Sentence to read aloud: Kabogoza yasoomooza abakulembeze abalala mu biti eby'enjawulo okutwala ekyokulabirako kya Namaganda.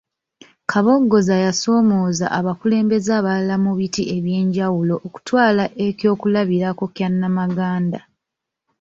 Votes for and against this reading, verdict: 1, 2, rejected